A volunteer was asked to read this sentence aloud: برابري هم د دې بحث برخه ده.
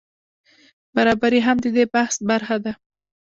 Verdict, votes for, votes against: accepted, 2, 0